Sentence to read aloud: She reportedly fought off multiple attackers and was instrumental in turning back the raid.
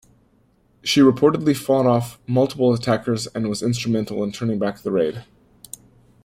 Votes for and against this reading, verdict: 2, 0, accepted